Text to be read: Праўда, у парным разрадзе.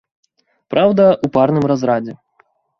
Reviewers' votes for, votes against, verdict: 2, 0, accepted